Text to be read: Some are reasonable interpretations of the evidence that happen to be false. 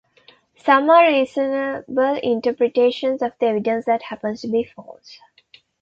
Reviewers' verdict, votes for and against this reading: rejected, 0, 2